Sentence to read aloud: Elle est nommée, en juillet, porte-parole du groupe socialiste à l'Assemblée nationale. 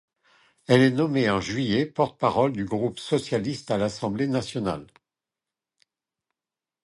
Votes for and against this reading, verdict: 2, 0, accepted